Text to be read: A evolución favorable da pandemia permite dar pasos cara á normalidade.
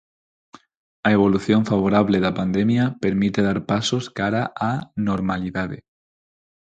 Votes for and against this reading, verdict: 4, 0, accepted